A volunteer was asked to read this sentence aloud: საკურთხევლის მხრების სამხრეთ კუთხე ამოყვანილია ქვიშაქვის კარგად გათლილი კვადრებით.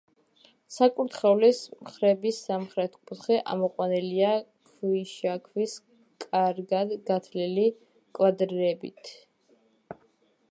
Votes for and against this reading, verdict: 0, 2, rejected